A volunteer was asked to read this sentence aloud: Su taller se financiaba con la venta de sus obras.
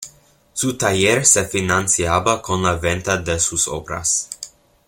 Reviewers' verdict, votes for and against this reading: accepted, 2, 0